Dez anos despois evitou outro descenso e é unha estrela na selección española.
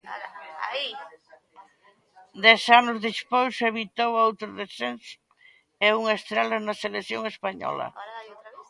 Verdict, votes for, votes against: accepted, 2, 0